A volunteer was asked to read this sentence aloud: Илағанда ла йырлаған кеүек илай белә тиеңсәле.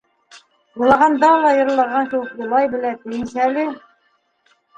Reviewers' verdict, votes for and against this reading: accepted, 2, 1